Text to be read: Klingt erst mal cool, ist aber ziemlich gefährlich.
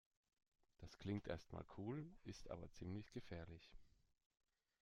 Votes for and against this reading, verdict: 2, 1, accepted